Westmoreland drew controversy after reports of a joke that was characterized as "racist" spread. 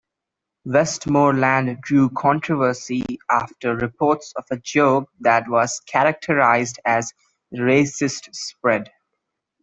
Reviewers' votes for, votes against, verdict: 2, 1, accepted